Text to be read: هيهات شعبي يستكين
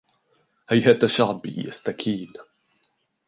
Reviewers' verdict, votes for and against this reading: rejected, 0, 2